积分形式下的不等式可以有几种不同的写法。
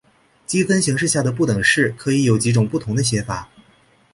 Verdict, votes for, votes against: accepted, 2, 0